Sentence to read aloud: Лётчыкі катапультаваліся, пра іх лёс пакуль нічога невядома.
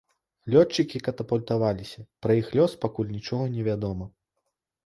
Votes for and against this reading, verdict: 2, 0, accepted